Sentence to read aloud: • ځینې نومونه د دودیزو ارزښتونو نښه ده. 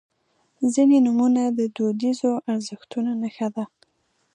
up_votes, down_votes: 2, 0